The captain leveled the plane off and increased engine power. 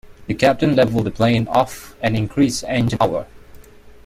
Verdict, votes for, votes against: rejected, 1, 2